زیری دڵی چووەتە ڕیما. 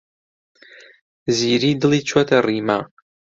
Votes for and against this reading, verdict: 2, 0, accepted